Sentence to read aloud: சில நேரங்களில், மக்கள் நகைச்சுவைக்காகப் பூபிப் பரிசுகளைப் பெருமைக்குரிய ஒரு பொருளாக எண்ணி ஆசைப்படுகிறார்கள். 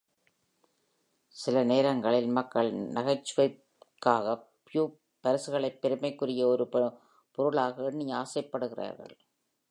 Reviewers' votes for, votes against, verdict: 1, 2, rejected